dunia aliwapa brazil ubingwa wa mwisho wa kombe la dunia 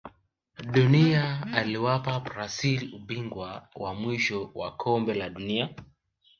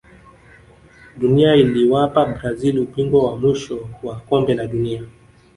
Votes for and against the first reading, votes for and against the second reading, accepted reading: 2, 0, 1, 2, first